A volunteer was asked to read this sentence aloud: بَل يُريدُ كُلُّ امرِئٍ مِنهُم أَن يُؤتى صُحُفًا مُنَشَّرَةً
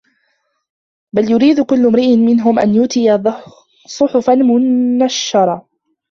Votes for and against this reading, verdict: 0, 2, rejected